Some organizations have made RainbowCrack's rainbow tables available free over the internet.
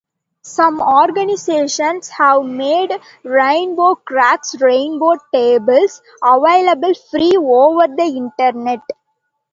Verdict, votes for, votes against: accepted, 2, 0